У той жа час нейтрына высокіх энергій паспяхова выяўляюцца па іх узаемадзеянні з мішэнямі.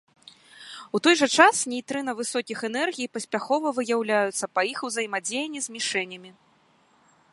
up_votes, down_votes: 2, 1